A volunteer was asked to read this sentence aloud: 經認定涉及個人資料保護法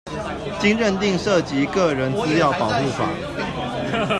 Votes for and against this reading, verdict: 2, 0, accepted